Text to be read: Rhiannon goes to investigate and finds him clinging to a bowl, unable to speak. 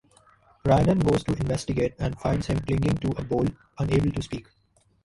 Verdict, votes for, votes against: accepted, 2, 0